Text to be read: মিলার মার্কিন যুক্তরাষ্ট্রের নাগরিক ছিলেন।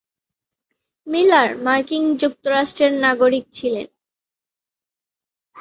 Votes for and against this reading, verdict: 2, 0, accepted